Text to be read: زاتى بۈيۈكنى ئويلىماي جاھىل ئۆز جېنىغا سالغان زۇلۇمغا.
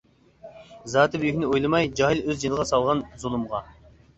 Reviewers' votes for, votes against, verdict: 2, 1, accepted